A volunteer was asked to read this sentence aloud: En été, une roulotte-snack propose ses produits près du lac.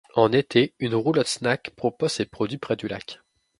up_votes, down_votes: 2, 0